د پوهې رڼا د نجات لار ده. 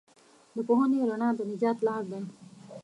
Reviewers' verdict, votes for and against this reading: accepted, 2, 1